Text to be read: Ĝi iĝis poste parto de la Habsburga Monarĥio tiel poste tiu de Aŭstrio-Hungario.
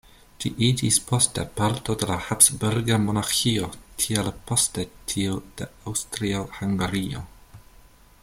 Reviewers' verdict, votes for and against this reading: rejected, 1, 2